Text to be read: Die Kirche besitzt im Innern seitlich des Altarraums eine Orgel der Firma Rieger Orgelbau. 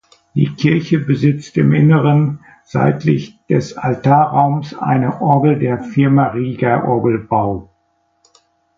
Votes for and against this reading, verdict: 1, 2, rejected